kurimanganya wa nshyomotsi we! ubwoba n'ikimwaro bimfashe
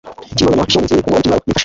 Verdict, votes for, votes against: rejected, 1, 2